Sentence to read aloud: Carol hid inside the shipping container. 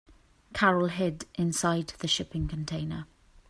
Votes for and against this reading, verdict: 2, 0, accepted